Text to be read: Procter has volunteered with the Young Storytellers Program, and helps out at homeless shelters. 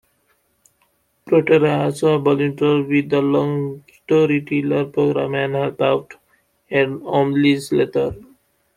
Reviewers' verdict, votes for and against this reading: rejected, 0, 2